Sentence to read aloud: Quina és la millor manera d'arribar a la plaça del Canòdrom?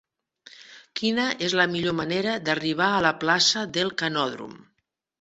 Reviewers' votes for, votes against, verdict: 2, 1, accepted